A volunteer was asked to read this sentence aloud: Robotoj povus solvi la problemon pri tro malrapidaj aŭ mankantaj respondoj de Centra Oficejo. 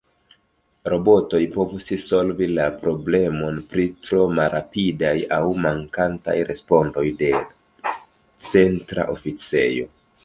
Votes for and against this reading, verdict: 2, 0, accepted